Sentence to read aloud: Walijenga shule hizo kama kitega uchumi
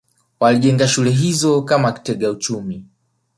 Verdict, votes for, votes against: rejected, 0, 2